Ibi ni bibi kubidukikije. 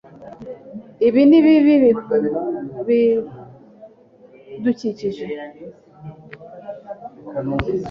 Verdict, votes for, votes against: rejected, 1, 2